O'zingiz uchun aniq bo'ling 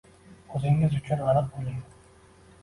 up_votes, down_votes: 2, 1